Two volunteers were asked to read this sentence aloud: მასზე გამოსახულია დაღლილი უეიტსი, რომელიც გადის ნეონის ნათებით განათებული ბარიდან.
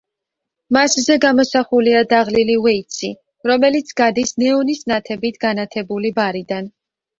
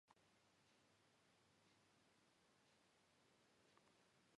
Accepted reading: first